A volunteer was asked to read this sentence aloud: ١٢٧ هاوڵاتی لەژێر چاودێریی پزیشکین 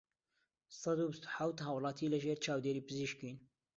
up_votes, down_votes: 0, 2